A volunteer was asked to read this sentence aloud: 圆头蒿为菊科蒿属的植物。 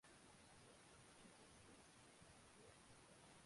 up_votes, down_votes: 2, 2